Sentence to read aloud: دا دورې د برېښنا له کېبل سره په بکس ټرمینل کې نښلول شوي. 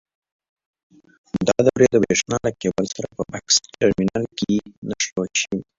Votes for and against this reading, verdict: 2, 3, rejected